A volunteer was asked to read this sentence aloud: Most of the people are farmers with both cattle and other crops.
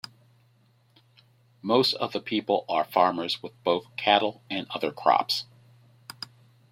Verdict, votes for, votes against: accepted, 2, 0